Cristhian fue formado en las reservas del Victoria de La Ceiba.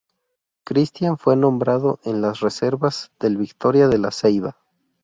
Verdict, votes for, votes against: rejected, 0, 2